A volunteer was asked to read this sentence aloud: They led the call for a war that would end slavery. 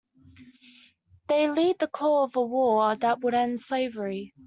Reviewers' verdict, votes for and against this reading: accepted, 2, 0